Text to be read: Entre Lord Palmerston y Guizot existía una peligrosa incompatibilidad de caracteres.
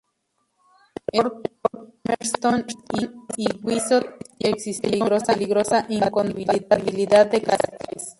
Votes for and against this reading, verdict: 0, 2, rejected